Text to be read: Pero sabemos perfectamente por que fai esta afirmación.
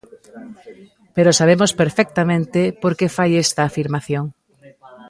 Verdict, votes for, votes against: rejected, 1, 2